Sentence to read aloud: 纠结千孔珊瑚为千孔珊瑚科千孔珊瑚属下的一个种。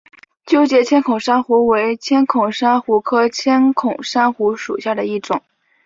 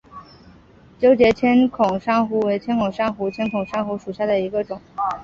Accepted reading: second